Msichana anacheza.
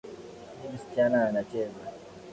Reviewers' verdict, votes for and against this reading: rejected, 0, 2